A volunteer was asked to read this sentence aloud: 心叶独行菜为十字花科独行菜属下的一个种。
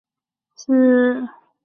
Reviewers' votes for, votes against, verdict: 0, 3, rejected